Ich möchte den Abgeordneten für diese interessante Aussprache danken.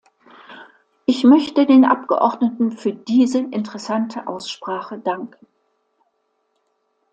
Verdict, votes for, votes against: accepted, 2, 0